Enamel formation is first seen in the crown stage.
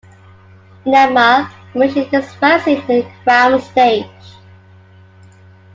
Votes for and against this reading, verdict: 0, 2, rejected